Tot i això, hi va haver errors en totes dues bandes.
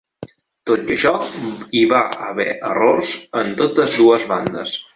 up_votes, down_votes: 3, 1